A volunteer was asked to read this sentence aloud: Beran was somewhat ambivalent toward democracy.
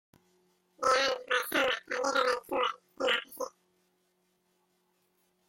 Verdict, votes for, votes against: rejected, 0, 2